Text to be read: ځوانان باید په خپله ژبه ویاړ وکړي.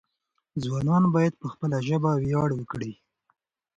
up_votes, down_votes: 2, 0